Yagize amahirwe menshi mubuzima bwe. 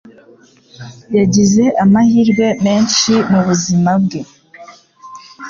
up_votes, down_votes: 3, 0